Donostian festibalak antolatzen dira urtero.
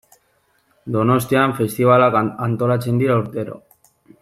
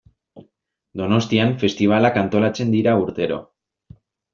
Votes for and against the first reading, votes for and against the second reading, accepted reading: 1, 2, 2, 0, second